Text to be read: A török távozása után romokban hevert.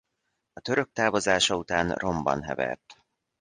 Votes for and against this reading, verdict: 1, 2, rejected